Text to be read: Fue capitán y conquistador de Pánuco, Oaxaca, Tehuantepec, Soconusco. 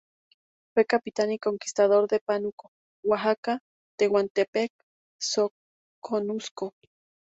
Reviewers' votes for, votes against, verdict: 0, 2, rejected